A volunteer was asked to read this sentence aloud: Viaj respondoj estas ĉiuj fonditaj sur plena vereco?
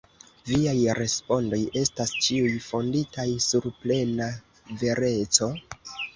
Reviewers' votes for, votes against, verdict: 1, 2, rejected